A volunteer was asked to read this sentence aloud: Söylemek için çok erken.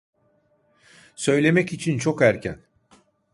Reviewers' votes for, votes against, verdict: 2, 0, accepted